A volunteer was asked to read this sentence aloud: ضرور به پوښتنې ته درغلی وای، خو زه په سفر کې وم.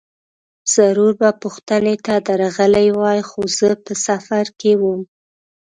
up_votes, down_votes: 2, 0